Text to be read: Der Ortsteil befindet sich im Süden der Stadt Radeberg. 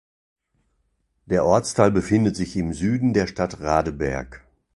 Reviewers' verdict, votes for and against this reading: accepted, 2, 0